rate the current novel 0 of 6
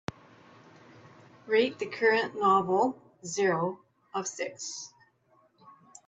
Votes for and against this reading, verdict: 0, 2, rejected